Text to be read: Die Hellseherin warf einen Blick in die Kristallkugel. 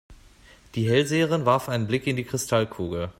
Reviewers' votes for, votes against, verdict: 2, 0, accepted